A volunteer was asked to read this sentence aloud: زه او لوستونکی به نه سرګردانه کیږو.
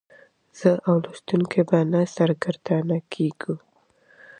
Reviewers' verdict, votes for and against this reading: accepted, 2, 0